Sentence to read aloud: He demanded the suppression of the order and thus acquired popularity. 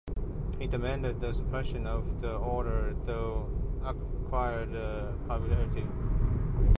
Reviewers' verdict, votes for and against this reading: rejected, 0, 2